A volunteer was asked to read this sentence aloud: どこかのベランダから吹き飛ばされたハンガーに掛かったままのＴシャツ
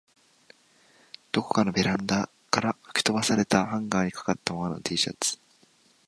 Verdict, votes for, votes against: accepted, 4, 3